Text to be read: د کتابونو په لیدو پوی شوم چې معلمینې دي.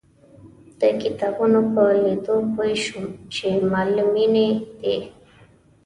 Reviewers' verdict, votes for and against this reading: accepted, 2, 0